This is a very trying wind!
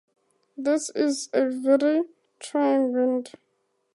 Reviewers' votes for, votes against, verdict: 0, 4, rejected